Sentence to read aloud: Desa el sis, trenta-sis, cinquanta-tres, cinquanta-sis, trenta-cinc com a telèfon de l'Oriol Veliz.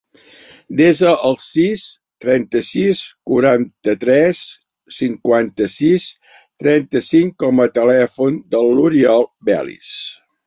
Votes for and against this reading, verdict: 0, 3, rejected